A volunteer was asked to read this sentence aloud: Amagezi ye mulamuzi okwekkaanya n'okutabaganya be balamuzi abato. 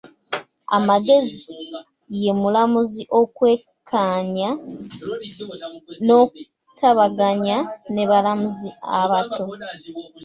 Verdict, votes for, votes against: rejected, 0, 2